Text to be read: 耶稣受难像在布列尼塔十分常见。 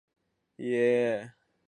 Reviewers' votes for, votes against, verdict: 1, 2, rejected